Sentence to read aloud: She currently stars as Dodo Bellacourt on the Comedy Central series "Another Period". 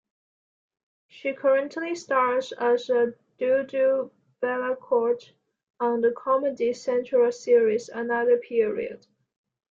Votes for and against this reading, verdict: 1, 2, rejected